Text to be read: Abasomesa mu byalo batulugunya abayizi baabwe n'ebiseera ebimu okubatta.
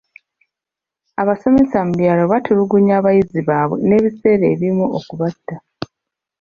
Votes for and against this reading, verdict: 2, 1, accepted